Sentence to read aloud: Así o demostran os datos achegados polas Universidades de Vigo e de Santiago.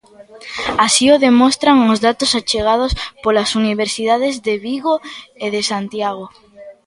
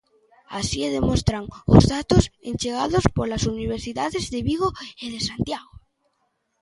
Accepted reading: first